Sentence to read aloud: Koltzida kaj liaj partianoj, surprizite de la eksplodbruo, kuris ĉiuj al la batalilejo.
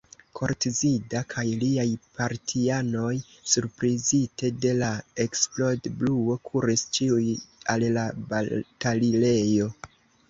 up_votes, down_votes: 2, 1